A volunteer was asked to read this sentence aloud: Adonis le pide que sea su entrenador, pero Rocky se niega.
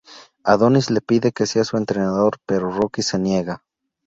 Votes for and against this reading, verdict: 2, 0, accepted